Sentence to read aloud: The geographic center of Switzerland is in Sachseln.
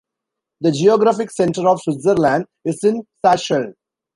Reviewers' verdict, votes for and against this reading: rejected, 0, 2